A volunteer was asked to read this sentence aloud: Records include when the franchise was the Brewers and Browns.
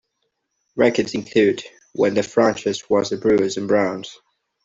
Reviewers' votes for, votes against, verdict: 2, 0, accepted